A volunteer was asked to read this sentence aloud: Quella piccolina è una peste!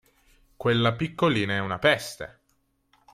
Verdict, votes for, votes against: accepted, 3, 0